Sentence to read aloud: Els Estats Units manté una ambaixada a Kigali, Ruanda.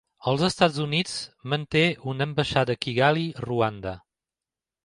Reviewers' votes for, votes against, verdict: 2, 0, accepted